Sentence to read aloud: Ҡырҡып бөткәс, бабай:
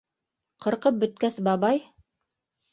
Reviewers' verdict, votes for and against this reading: rejected, 1, 2